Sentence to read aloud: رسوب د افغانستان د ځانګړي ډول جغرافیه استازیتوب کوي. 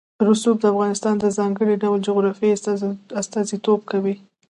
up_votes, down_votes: 1, 2